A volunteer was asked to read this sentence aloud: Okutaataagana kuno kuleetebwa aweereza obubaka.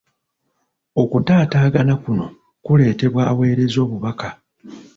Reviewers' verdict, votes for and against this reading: rejected, 1, 2